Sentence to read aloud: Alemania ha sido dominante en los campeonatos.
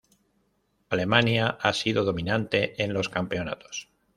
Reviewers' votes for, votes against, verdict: 2, 0, accepted